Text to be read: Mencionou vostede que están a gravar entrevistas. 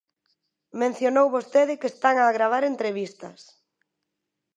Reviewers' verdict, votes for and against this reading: accepted, 2, 0